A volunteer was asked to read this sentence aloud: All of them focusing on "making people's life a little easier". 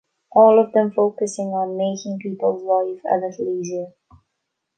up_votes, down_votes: 2, 0